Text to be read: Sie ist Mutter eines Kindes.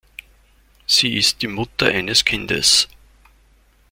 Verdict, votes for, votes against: rejected, 1, 2